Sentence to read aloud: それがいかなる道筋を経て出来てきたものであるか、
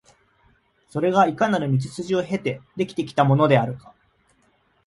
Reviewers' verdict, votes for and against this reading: accepted, 2, 0